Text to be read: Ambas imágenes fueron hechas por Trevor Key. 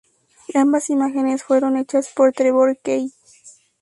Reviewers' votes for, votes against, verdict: 2, 0, accepted